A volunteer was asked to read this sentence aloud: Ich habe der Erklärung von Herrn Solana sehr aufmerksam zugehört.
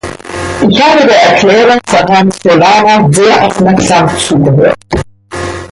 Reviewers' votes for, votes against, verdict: 1, 2, rejected